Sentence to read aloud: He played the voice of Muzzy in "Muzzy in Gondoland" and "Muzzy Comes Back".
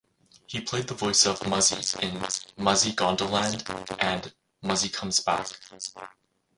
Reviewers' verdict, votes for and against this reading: rejected, 2, 4